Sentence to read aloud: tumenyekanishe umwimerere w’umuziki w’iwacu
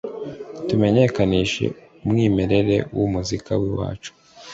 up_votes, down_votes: 0, 2